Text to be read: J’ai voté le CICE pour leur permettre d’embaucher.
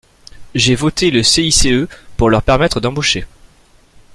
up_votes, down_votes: 2, 0